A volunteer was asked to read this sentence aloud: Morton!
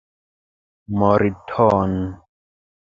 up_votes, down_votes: 1, 2